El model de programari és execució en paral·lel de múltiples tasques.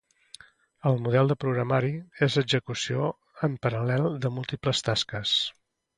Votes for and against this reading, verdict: 2, 0, accepted